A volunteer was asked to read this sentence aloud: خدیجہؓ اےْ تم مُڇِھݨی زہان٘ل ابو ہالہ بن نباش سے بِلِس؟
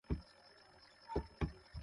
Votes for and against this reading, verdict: 0, 2, rejected